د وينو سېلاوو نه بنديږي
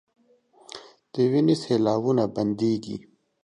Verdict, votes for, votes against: accepted, 2, 1